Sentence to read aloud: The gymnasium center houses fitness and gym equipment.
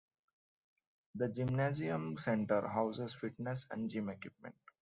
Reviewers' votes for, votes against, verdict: 1, 2, rejected